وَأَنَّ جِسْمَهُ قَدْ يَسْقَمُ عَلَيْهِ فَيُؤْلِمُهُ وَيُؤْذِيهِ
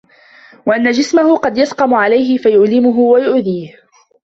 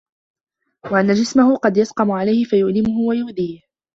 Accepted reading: second